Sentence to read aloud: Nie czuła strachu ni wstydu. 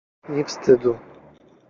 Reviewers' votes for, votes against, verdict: 0, 2, rejected